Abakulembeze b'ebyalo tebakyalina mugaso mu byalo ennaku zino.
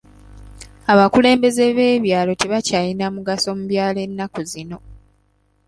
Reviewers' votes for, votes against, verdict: 2, 0, accepted